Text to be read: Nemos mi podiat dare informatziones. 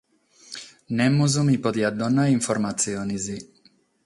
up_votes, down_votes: 3, 3